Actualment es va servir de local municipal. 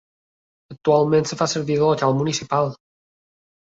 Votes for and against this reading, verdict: 0, 2, rejected